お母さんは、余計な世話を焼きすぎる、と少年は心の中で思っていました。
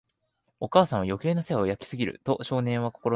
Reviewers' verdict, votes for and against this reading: rejected, 1, 2